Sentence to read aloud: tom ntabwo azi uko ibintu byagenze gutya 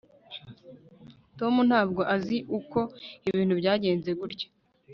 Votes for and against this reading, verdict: 2, 1, accepted